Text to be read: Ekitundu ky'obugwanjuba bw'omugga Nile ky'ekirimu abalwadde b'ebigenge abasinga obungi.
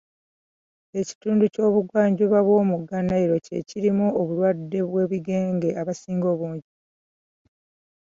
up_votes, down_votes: 0, 2